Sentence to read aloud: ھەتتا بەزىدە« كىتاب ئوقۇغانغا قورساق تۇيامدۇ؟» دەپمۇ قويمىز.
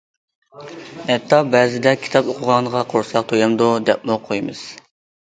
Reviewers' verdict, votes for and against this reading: accepted, 2, 0